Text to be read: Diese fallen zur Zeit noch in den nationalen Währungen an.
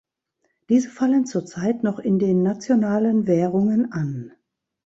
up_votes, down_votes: 2, 0